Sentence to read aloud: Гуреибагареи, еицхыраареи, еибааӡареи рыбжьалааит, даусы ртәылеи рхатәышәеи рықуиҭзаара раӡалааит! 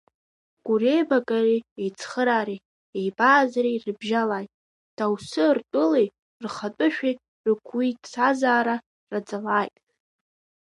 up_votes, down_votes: 2, 1